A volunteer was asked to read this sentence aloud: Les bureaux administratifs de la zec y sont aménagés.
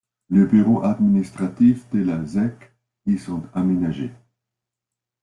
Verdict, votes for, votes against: accepted, 2, 1